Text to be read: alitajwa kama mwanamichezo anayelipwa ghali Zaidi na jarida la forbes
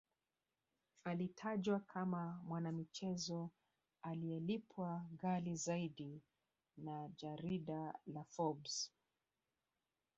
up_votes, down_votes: 1, 2